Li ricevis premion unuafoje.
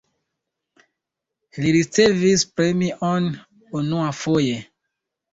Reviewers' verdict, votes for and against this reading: accepted, 2, 0